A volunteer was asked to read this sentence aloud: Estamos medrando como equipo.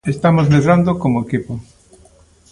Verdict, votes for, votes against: accepted, 2, 0